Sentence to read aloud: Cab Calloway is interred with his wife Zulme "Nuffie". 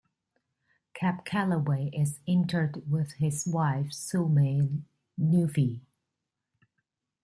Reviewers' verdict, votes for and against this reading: accepted, 2, 0